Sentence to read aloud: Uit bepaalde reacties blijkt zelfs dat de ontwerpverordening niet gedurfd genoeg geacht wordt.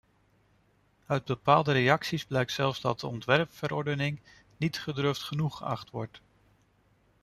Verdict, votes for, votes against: rejected, 1, 2